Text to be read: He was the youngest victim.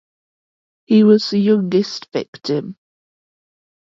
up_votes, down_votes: 2, 0